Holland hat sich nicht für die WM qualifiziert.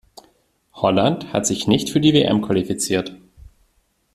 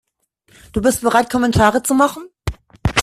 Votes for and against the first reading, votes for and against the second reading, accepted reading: 2, 0, 0, 3, first